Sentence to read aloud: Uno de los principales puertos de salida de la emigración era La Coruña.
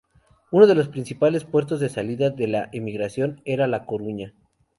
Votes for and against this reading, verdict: 2, 0, accepted